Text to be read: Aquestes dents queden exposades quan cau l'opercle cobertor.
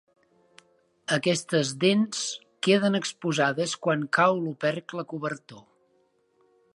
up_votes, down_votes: 2, 0